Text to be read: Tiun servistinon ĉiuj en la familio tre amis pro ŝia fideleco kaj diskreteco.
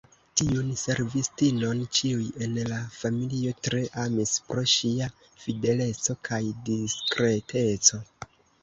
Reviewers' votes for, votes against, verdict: 0, 2, rejected